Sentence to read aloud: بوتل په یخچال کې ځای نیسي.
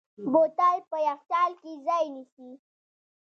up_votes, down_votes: 1, 2